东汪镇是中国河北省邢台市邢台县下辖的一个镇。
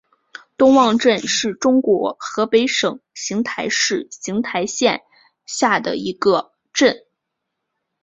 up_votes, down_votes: 0, 2